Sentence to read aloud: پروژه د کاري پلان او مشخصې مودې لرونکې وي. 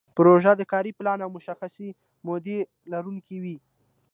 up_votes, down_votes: 2, 0